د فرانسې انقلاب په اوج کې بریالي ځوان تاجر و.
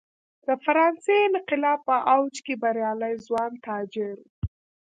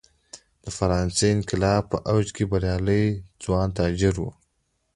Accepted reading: second